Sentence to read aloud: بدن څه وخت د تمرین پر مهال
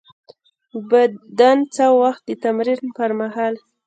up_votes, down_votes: 0, 2